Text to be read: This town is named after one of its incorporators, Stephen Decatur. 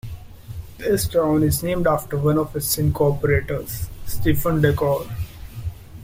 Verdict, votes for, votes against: rejected, 1, 2